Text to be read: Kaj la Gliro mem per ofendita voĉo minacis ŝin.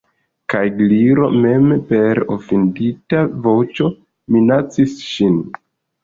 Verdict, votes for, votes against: rejected, 1, 2